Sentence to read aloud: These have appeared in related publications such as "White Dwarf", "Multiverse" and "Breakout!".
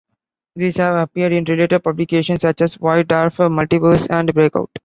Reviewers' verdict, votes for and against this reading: rejected, 1, 2